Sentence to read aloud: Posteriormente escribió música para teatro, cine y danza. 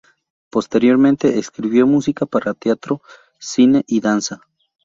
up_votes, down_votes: 4, 0